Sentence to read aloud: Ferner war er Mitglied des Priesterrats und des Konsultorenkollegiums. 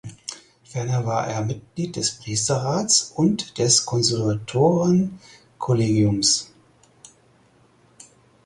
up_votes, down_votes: 2, 4